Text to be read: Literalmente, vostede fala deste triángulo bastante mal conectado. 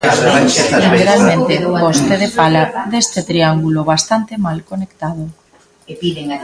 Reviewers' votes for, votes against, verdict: 0, 2, rejected